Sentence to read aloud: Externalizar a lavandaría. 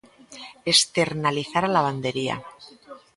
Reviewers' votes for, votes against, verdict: 0, 2, rejected